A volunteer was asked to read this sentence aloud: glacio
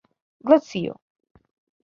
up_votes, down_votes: 2, 1